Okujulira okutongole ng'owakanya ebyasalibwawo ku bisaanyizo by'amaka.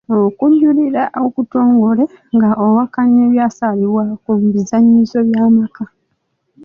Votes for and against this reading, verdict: 0, 2, rejected